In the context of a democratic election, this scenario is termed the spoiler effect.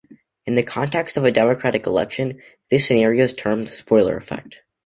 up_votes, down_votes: 2, 1